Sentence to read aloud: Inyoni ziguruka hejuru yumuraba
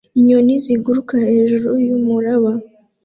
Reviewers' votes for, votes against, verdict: 2, 0, accepted